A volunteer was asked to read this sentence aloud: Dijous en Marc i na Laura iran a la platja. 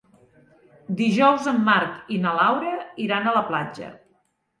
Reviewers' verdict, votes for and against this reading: accepted, 2, 0